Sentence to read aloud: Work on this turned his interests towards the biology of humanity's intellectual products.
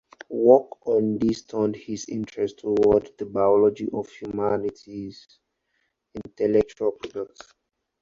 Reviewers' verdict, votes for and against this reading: rejected, 2, 4